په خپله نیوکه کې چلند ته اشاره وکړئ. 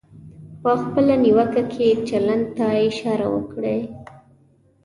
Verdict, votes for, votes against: accepted, 2, 1